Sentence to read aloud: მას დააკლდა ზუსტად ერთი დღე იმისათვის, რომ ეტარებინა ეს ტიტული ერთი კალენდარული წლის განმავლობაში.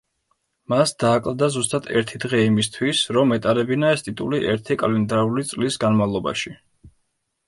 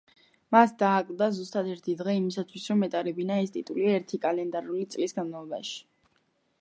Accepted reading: second